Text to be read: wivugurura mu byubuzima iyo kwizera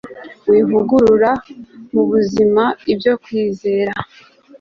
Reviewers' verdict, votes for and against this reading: rejected, 1, 2